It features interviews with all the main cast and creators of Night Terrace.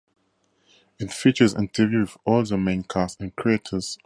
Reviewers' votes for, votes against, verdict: 0, 2, rejected